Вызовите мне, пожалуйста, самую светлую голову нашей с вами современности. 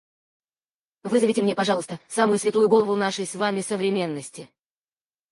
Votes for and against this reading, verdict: 2, 4, rejected